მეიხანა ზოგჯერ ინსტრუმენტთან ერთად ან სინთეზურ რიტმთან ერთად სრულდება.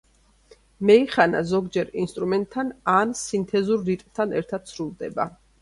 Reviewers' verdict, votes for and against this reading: rejected, 1, 2